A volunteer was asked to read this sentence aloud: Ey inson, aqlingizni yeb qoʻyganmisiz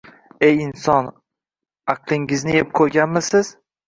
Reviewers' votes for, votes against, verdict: 2, 0, accepted